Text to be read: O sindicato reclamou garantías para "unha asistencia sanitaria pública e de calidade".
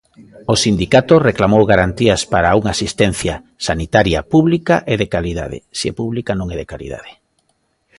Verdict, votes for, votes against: rejected, 1, 2